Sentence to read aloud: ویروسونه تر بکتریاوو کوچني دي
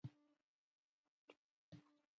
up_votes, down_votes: 0, 2